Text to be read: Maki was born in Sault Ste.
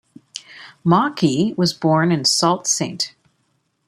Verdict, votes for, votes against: accepted, 2, 0